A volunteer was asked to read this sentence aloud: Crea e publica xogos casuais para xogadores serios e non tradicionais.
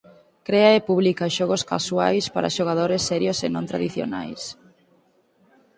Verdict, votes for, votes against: accepted, 4, 0